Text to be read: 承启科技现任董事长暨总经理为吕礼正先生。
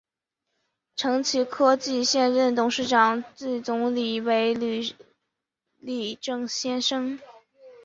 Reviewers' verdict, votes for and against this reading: rejected, 0, 3